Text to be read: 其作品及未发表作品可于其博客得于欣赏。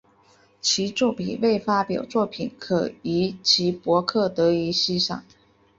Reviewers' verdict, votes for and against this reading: rejected, 1, 2